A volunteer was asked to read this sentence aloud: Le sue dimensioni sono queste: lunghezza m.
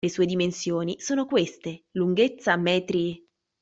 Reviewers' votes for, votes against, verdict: 0, 2, rejected